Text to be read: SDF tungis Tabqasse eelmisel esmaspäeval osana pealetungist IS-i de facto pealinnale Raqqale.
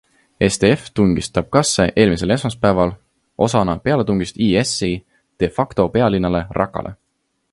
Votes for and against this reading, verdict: 2, 0, accepted